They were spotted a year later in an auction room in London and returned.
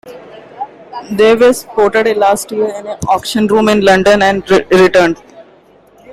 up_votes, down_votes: 1, 2